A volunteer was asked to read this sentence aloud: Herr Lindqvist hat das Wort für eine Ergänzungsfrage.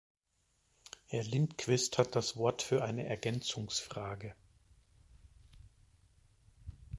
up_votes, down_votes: 0, 2